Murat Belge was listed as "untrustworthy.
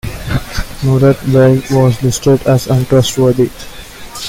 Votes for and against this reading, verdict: 1, 2, rejected